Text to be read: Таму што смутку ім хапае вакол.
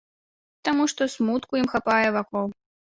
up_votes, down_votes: 3, 0